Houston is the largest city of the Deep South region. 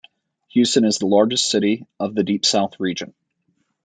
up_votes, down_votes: 2, 0